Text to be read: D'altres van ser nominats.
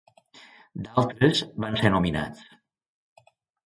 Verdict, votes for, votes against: accepted, 2, 0